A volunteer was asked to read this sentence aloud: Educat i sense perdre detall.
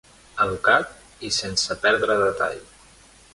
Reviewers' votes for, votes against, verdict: 2, 0, accepted